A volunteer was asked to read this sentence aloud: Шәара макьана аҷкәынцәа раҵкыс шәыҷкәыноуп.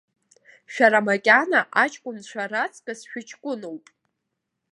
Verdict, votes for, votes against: accepted, 2, 0